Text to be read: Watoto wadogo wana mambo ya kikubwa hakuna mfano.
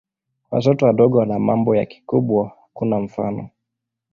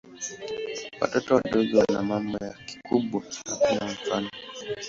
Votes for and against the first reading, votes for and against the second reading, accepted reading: 2, 0, 0, 2, first